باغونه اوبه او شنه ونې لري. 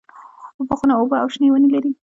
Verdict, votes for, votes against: rejected, 0, 2